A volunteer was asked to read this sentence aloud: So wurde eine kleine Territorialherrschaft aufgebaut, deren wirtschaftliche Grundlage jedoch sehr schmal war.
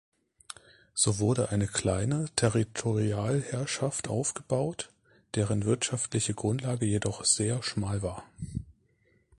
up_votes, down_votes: 0, 2